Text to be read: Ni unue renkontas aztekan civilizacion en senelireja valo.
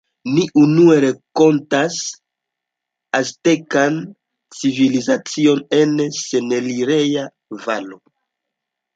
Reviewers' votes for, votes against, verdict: 1, 2, rejected